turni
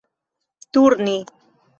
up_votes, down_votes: 3, 0